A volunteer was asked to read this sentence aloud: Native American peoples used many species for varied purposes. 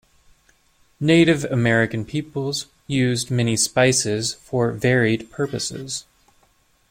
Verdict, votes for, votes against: rejected, 0, 2